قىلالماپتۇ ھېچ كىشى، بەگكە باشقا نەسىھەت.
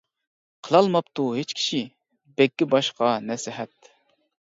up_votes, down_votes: 2, 0